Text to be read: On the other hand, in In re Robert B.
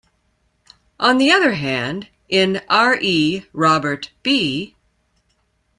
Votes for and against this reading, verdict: 0, 2, rejected